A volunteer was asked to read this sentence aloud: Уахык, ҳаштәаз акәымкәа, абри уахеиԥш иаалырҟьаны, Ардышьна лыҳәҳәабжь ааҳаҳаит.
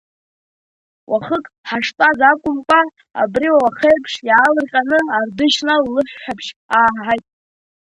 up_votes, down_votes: 2, 1